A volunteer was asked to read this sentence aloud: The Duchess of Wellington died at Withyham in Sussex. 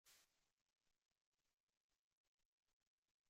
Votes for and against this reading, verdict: 0, 2, rejected